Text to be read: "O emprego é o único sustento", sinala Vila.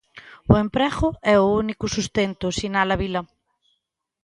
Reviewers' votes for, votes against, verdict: 2, 1, accepted